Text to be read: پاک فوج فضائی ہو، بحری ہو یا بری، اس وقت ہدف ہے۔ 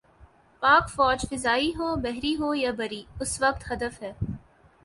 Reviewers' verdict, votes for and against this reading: accepted, 4, 0